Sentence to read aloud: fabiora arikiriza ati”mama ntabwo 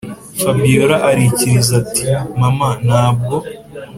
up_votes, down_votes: 2, 0